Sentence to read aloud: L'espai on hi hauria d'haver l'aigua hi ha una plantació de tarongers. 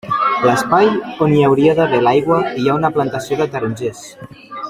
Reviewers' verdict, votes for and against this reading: rejected, 0, 2